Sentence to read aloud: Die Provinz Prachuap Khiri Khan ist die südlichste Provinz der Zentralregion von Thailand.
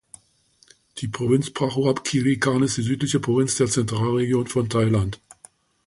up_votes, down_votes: 0, 2